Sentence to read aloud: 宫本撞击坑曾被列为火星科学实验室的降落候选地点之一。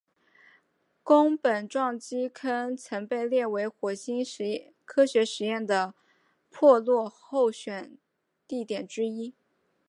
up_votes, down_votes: 1, 2